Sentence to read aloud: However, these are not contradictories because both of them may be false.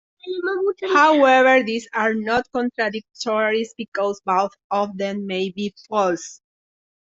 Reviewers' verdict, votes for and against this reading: rejected, 0, 2